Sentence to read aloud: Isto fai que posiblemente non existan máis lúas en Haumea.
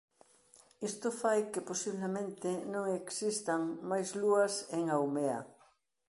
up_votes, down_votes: 2, 0